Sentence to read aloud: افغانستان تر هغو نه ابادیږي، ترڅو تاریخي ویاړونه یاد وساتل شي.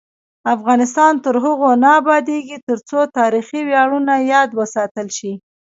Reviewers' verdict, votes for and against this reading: accepted, 2, 1